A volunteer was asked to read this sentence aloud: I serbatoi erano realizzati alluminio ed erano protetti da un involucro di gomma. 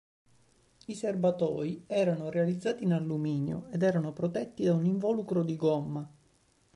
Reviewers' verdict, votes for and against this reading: rejected, 1, 2